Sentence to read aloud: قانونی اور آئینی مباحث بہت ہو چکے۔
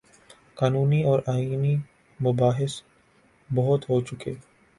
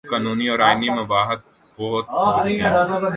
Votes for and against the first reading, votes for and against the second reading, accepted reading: 2, 0, 0, 2, first